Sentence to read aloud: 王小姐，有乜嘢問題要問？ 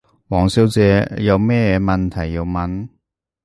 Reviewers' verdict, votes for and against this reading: rejected, 0, 2